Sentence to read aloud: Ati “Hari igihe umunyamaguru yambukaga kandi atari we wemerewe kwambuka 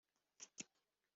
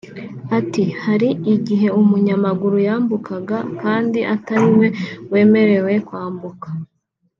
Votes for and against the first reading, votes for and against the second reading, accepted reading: 0, 2, 3, 0, second